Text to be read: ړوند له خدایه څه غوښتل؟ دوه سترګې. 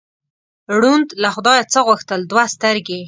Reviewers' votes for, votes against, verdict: 2, 0, accepted